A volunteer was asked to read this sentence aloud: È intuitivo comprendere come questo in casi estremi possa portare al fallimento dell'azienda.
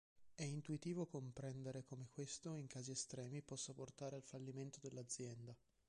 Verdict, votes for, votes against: rejected, 1, 2